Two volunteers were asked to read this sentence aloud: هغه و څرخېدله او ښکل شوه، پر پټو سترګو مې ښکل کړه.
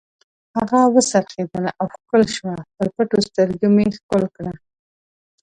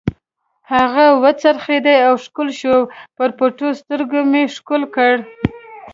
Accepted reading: first